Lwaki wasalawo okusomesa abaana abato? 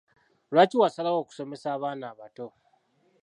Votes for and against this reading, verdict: 2, 0, accepted